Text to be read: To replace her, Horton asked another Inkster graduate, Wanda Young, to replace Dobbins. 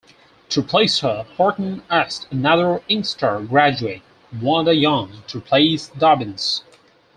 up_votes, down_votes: 2, 4